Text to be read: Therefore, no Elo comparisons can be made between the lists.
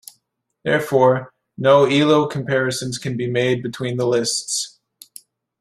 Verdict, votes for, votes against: accepted, 2, 0